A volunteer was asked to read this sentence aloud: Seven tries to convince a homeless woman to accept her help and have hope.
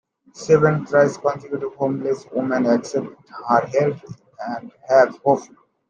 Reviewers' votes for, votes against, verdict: 1, 2, rejected